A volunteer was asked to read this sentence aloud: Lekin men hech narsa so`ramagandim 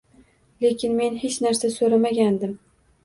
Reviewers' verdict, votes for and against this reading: accepted, 2, 0